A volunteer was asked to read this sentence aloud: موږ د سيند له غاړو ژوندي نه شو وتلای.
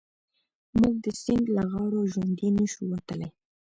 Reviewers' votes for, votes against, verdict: 2, 0, accepted